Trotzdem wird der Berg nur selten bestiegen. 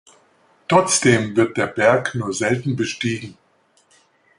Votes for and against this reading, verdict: 2, 1, accepted